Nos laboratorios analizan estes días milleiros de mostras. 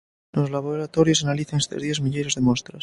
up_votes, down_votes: 2, 0